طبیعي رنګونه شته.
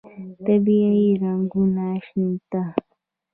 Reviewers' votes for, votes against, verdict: 0, 2, rejected